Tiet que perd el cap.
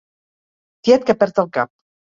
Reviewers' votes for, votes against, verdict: 4, 0, accepted